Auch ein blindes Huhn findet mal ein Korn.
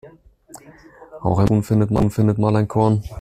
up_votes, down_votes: 0, 2